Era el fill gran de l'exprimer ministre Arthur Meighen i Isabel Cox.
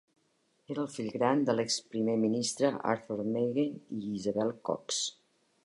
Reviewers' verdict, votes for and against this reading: accepted, 2, 0